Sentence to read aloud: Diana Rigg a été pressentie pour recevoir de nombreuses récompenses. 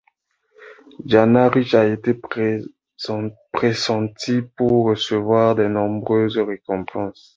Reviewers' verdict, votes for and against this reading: rejected, 1, 2